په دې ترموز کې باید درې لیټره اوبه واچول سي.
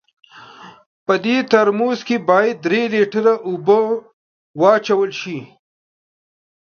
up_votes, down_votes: 2, 0